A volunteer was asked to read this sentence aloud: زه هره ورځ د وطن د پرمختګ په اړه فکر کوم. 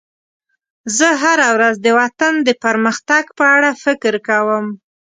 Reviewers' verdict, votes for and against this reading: accepted, 2, 0